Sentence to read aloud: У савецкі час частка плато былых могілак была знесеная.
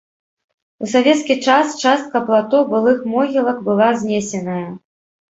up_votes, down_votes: 2, 0